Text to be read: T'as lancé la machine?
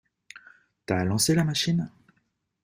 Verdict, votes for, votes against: accepted, 2, 0